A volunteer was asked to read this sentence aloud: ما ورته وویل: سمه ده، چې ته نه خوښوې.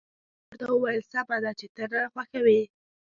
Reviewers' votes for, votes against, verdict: 1, 2, rejected